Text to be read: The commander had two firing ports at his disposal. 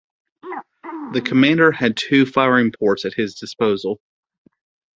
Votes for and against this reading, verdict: 2, 0, accepted